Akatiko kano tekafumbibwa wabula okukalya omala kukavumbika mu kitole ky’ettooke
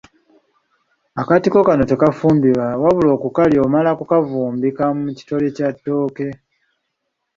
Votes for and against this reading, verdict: 1, 2, rejected